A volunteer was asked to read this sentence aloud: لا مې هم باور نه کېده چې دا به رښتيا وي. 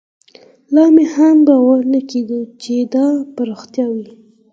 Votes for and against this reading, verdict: 4, 0, accepted